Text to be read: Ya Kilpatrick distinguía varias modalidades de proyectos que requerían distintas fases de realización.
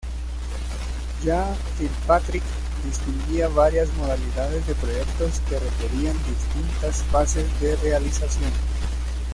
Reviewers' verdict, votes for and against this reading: accepted, 2, 1